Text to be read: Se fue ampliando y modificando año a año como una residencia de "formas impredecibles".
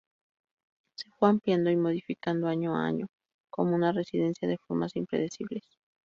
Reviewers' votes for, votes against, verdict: 2, 0, accepted